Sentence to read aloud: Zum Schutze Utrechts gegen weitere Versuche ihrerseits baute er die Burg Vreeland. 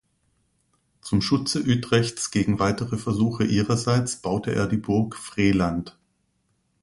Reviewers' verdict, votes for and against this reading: rejected, 1, 2